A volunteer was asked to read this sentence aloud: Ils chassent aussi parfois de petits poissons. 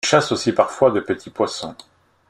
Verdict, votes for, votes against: rejected, 0, 2